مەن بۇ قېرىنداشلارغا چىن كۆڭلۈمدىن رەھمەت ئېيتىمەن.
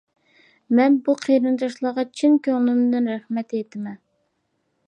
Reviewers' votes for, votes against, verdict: 2, 0, accepted